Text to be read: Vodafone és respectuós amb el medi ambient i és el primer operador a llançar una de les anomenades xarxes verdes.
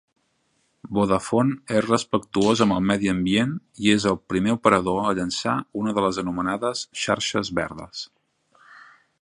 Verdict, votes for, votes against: accepted, 4, 0